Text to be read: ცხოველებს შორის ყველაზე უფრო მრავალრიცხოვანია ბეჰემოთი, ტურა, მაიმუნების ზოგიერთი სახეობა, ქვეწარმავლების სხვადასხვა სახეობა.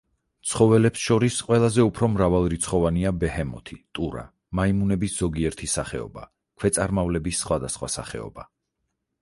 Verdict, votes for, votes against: accepted, 4, 0